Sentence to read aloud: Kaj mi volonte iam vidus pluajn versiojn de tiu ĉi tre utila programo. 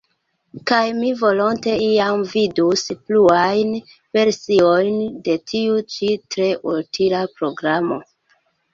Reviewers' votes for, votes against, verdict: 0, 2, rejected